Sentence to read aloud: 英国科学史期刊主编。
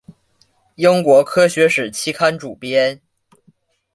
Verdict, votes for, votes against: accepted, 2, 0